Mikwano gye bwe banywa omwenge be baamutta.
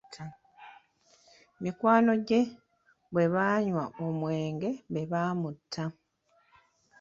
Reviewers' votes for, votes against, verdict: 1, 2, rejected